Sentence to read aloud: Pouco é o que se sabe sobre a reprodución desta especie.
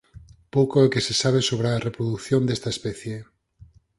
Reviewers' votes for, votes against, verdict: 4, 0, accepted